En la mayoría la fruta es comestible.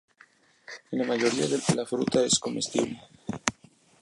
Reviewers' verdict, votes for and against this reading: rejected, 0, 2